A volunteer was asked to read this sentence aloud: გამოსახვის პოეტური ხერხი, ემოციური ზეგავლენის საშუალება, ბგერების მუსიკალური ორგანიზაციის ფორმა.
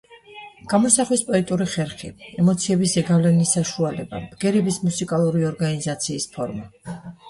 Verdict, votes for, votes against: rejected, 1, 2